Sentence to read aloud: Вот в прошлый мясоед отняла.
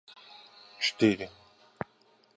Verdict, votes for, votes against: rejected, 1, 2